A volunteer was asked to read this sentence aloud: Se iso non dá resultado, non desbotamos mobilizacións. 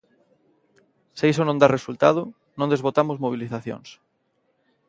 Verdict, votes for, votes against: accepted, 2, 0